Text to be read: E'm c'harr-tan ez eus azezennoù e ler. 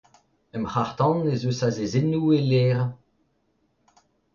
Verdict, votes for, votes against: accepted, 2, 0